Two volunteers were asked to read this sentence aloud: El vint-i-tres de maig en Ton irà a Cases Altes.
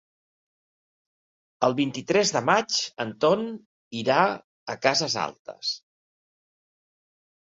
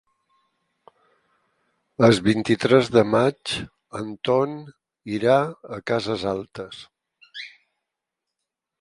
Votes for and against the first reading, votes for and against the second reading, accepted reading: 3, 0, 4, 6, first